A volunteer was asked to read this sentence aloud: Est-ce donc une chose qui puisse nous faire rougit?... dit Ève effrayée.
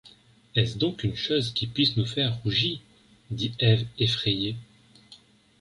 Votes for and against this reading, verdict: 0, 2, rejected